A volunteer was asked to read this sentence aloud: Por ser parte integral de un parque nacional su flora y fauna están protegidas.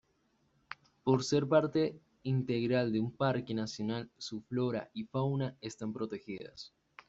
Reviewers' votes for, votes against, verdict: 2, 0, accepted